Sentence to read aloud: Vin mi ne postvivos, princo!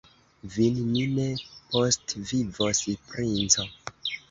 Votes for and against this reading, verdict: 3, 0, accepted